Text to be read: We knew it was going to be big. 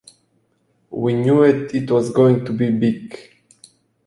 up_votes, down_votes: 2, 0